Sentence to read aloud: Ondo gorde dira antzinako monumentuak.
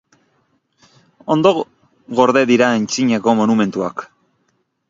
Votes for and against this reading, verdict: 2, 0, accepted